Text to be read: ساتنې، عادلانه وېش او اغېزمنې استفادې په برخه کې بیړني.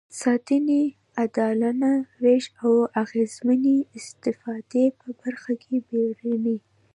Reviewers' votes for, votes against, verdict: 2, 0, accepted